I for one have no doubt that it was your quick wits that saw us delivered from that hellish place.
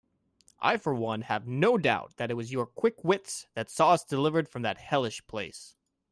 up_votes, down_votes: 2, 0